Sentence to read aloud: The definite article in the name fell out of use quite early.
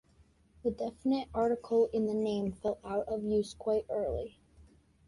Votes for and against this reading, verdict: 2, 0, accepted